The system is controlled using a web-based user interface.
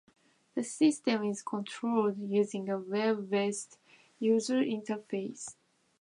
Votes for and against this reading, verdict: 2, 1, accepted